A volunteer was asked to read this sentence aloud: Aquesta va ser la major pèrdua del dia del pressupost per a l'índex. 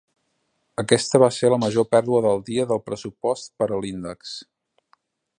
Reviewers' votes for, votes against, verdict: 3, 0, accepted